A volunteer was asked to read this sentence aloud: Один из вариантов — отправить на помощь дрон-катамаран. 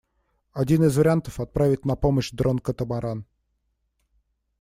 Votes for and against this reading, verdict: 2, 0, accepted